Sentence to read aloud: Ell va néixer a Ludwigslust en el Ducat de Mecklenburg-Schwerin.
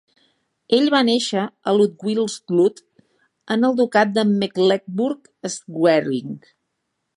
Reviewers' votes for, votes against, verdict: 1, 2, rejected